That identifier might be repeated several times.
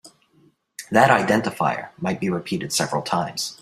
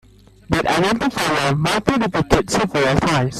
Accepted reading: first